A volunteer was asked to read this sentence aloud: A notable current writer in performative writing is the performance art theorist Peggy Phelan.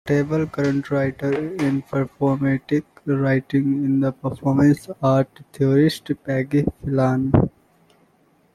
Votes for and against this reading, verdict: 2, 0, accepted